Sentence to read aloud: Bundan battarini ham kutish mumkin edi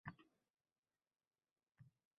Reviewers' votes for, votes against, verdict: 0, 2, rejected